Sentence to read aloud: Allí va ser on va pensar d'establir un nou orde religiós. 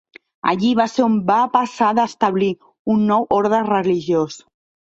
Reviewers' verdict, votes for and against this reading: rejected, 1, 2